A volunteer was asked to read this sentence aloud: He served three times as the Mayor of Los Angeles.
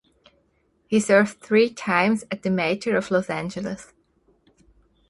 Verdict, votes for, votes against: accepted, 4, 2